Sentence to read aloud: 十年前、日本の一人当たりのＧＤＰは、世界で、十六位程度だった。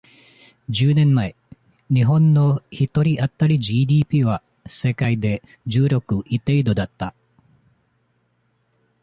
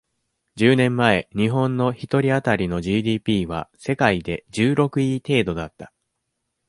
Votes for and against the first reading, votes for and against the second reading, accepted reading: 1, 2, 2, 0, second